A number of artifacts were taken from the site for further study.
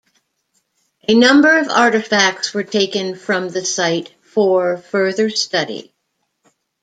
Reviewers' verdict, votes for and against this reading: accepted, 2, 0